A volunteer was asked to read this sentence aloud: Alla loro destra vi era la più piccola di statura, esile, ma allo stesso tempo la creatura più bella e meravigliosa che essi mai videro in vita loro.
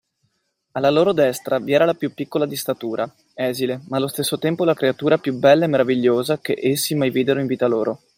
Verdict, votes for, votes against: accepted, 2, 0